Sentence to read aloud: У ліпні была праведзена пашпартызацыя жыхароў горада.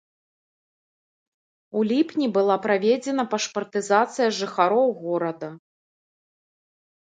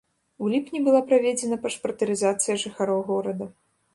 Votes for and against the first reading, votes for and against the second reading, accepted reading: 2, 0, 1, 2, first